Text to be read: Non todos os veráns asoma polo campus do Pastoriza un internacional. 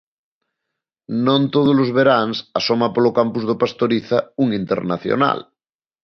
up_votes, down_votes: 2, 0